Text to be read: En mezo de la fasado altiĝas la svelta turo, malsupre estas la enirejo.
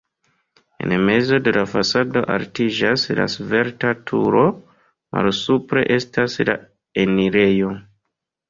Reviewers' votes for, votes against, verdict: 3, 0, accepted